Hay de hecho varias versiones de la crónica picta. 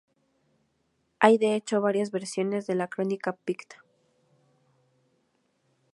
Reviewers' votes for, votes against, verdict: 2, 0, accepted